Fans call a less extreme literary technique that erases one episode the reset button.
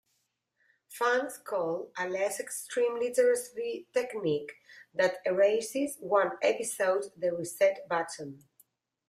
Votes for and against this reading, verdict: 1, 2, rejected